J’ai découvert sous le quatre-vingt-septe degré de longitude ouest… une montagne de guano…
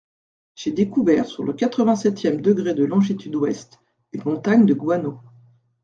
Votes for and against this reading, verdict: 1, 2, rejected